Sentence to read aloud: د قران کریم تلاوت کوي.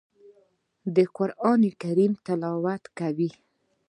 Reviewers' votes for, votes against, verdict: 1, 2, rejected